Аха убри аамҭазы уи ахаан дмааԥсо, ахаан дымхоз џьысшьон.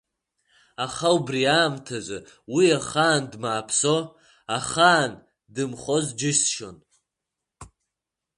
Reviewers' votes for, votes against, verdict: 2, 0, accepted